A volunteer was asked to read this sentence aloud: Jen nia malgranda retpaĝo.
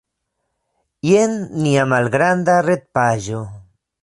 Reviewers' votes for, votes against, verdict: 2, 0, accepted